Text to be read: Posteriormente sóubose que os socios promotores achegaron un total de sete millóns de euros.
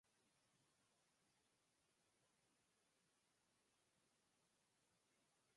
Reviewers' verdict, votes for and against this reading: rejected, 0, 4